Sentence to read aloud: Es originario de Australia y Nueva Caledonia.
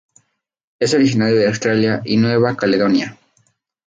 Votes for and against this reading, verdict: 2, 0, accepted